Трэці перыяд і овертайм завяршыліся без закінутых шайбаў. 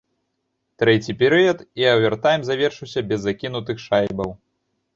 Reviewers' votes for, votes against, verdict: 0, 2, rejected